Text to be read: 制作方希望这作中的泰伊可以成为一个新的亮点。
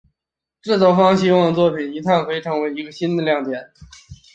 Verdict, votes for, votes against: accepted, 5, 2